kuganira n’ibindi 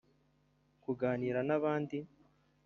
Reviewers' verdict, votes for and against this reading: rejected, 1, 2